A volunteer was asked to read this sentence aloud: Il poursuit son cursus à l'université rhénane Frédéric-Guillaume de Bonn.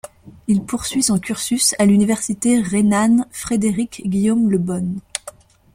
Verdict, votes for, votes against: accepted, 2, 0